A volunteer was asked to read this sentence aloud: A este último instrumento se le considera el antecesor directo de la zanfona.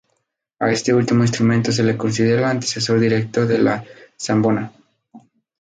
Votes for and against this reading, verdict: 0, 2, rejected